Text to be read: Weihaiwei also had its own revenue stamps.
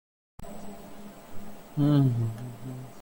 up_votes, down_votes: 0, 2